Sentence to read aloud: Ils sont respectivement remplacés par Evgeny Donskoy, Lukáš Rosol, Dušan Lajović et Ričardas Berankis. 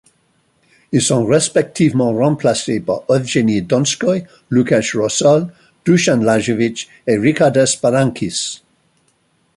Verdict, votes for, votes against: accepted, 2, 0